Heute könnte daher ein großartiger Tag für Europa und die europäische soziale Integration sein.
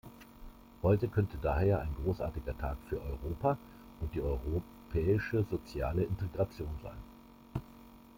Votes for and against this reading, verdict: 2, 1, accepted